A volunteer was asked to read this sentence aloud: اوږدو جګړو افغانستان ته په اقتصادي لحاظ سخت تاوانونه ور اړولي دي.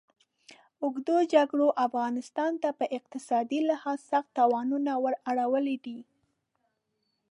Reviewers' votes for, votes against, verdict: 4, 0, accepted